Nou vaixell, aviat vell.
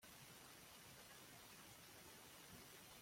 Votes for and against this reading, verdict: 0, 2, rejected